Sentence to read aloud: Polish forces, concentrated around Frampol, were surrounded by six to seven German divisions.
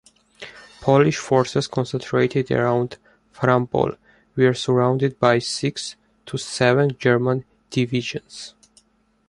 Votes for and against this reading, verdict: 2, 0, accepted